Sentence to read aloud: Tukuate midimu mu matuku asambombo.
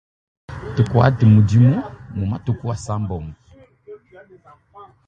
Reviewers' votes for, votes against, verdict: 1, 2, rejected